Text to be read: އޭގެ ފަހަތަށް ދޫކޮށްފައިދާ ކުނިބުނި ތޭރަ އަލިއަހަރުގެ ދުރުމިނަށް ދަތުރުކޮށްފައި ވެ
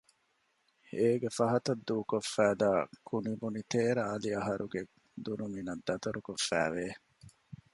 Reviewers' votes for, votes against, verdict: 1, 2, rejected